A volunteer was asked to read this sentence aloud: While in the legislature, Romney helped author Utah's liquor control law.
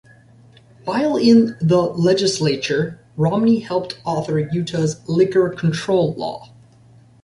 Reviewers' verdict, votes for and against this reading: accepted, 2, 0